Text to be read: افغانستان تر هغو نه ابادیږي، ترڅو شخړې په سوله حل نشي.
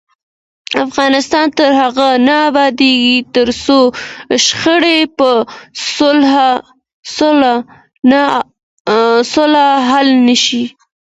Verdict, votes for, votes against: accepted, 2, 1